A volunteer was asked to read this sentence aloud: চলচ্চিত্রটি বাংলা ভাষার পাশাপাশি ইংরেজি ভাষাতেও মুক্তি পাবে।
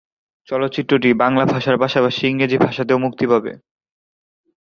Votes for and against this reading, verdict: 2, 0, accepted